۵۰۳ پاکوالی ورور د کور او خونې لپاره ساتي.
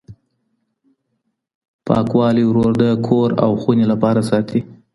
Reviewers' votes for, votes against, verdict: 0, 2, rejected